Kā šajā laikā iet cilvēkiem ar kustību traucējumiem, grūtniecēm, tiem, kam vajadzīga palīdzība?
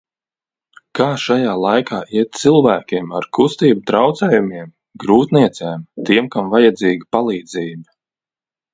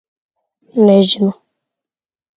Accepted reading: first